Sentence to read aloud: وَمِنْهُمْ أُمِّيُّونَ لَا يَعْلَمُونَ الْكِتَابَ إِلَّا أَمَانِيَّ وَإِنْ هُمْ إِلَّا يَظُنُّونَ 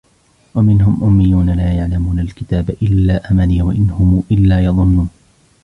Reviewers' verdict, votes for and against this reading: rejected, 1, 2